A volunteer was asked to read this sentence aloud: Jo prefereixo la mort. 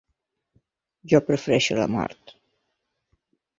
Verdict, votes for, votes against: accepted, 3, 0